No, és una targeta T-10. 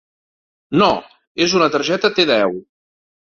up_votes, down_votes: 0, 2